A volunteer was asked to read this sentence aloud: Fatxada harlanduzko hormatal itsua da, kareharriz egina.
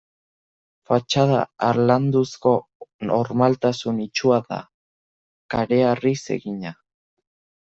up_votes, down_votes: 1, 2